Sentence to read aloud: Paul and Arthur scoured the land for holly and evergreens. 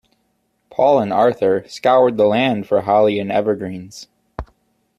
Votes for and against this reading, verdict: 2, 0, accepted